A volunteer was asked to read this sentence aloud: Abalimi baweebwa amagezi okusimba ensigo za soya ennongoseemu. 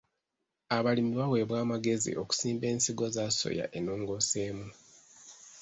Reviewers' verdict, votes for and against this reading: rejected, 1, 2